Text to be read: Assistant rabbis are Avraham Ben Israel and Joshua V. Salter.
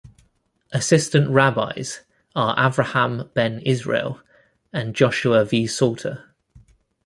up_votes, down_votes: 2, 0